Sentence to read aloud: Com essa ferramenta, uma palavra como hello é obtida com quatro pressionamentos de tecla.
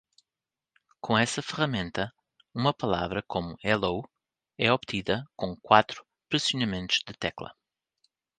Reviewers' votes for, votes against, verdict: 2, 0, accepted